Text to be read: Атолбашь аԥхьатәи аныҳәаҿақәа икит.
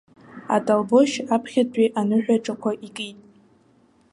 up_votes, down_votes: 1, 2